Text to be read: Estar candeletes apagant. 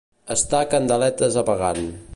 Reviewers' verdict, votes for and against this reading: accepted, 2, 0